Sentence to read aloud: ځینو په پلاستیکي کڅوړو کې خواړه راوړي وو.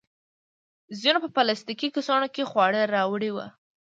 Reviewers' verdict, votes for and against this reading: accepted, 3, 0